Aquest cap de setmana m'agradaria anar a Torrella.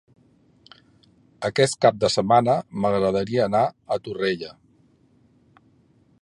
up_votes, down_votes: 3, 0